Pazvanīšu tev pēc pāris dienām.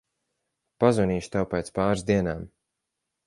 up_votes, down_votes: 4, 0